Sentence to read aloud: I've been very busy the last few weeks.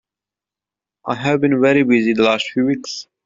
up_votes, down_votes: 1, 2